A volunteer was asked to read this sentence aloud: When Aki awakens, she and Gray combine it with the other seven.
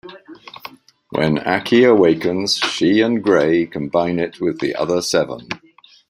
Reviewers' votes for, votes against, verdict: 4, 2, accepted